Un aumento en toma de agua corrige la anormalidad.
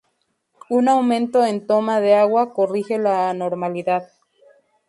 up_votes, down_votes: 0, 2